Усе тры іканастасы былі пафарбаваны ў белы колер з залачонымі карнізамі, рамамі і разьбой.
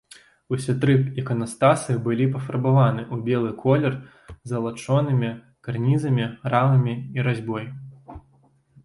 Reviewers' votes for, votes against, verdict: 1, 2, rejected